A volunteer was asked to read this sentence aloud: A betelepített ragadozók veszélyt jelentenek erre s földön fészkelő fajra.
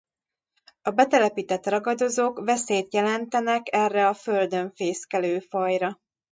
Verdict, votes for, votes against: rejected, 0, 2